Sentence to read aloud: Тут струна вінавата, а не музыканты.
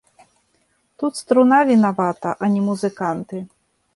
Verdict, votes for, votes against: accepted, 2, 0